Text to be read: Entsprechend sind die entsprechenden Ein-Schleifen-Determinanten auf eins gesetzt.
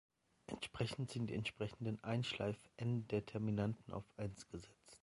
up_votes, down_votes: 2, 4